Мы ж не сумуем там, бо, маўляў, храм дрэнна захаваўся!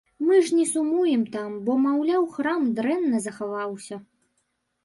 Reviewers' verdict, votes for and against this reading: accepted, 2, 0